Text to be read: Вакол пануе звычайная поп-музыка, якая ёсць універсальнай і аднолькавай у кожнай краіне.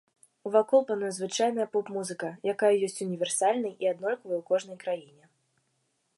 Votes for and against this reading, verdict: 2, 0, accepted